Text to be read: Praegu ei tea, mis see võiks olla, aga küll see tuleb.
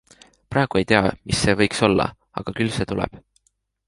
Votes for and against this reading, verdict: 2, 0, accepted